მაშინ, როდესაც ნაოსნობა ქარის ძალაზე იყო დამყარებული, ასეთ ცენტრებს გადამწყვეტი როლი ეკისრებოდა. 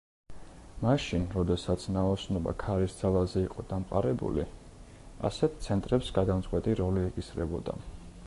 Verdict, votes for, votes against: accepted, 2, 0